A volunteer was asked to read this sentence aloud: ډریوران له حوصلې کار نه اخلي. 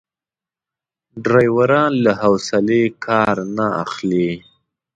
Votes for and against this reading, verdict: 2, 0, accepted